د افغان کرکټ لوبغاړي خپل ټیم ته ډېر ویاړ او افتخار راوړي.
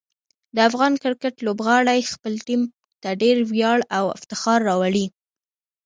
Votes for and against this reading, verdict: 0, 2, rejected